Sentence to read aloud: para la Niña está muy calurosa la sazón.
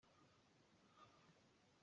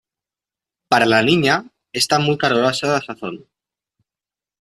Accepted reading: second